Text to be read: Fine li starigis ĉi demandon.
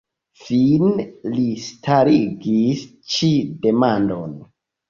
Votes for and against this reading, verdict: 1, 2, rejected